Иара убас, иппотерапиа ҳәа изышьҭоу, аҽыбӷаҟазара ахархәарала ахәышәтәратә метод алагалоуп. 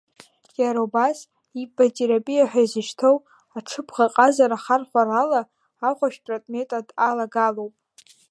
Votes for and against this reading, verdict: 2, 1, accepted